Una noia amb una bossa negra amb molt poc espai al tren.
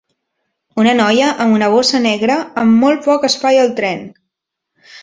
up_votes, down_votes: 3, 0